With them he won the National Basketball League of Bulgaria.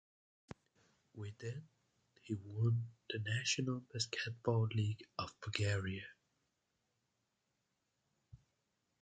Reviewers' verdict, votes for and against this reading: accepted, 2, 0